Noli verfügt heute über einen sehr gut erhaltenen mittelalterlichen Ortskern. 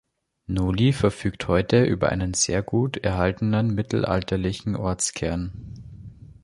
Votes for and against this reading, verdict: 2, 0, accepted